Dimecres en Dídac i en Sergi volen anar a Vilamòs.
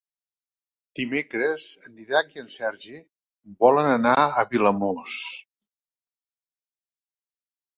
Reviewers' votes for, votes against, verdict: 1, 2, rejected